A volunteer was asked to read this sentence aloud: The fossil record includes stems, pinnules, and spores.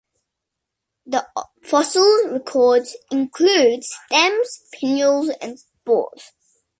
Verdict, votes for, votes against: accepted, 2, 1